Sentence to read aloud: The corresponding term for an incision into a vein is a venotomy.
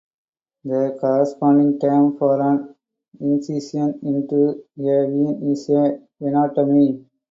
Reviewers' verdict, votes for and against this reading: accepted, 2, 0